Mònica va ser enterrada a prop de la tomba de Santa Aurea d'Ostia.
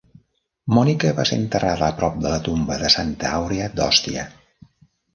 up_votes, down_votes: 0, 2